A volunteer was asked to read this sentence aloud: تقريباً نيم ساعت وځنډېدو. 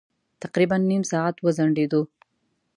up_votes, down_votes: 2, 0